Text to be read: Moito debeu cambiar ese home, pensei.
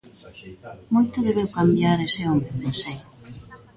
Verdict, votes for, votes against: rejected, 0, 2